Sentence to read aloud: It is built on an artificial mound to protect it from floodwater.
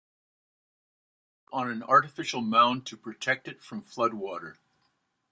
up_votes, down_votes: 0, 2